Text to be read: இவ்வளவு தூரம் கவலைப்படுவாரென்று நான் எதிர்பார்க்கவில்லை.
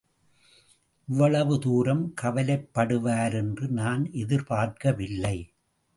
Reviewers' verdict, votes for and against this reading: accepted, 2, 0